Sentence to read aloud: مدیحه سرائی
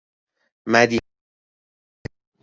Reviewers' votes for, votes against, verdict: 0, 2, rejected